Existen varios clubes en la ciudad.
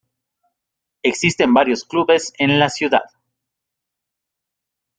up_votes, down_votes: 2, 0